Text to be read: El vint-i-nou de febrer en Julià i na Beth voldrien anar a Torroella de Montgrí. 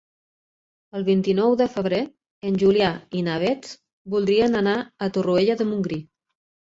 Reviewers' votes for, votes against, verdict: 2, 0, accepted